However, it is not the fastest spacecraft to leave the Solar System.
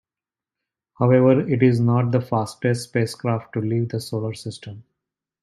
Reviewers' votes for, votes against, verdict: 2, 0, accepted